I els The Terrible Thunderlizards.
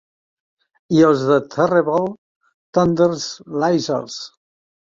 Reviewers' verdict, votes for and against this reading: accepted, 2, 0